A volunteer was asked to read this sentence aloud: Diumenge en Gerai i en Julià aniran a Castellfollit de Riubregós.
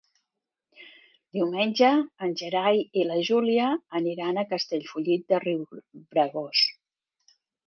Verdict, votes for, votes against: rejected, 0, 2